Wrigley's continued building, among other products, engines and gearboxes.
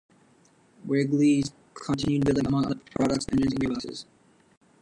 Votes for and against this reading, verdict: 1, 2, rejected